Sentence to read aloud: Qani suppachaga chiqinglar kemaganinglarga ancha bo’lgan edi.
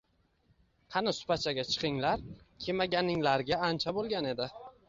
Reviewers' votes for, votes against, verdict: 2, 0, accepted